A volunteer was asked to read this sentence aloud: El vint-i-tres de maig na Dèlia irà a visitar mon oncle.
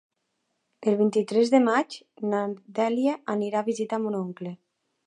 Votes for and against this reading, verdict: 0, 2, rejected